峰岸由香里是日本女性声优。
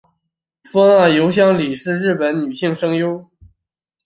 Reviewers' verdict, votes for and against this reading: accepted, 2, 1